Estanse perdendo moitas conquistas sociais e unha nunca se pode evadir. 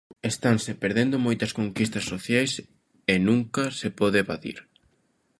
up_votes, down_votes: 1, 2